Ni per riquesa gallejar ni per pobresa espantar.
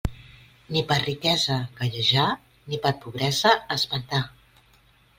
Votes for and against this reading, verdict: 2, 1, accepted